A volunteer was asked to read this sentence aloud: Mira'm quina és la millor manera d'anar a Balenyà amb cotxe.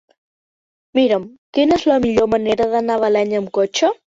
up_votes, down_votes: 2, 0